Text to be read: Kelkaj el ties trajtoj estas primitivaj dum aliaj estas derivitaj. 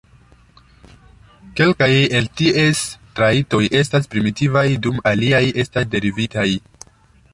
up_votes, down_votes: 0, 2